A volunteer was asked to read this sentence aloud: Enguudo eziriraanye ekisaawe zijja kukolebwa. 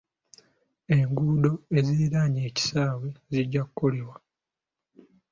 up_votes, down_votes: 2, 0